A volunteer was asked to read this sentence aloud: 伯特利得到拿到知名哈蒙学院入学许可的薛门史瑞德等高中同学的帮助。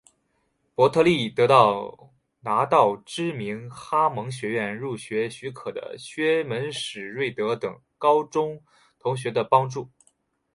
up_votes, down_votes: 5, 0